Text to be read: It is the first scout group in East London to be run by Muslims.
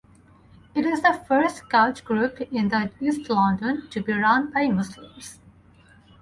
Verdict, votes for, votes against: rejected, 2, 4